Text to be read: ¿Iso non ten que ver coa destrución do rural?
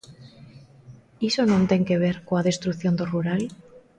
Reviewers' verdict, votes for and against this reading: accepted, 2, 0